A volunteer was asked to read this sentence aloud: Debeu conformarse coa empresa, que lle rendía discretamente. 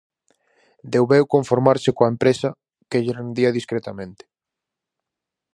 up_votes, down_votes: 2, 2